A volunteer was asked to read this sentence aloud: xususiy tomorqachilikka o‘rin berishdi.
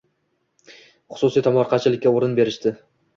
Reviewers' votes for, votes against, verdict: 2, 0, accepted